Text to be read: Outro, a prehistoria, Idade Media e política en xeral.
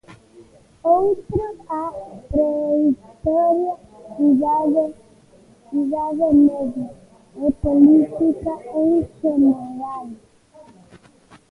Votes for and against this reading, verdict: 0, 2, rejected